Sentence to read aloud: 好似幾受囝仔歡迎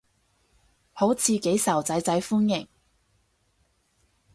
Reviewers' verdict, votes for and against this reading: accepted, 4, 0